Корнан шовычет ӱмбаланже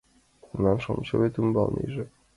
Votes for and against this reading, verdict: 1, 2, rejected